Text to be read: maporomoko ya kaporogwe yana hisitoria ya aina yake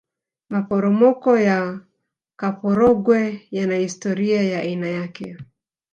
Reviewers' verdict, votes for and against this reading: accepted, 3, 0